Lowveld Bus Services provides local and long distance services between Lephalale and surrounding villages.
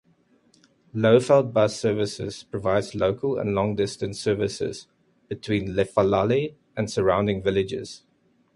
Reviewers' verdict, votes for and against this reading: accepted, 2, 0